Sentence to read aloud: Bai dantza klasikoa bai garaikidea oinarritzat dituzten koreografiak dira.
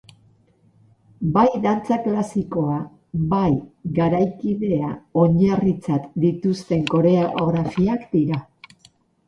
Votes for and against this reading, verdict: 4, 0, accepted